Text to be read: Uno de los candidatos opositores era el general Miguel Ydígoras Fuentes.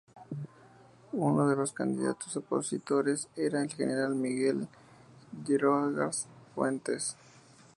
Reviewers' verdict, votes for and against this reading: rejected, 0, 2